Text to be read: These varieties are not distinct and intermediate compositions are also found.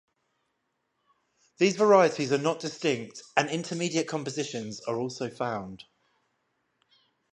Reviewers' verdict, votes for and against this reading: accepted, 5, 0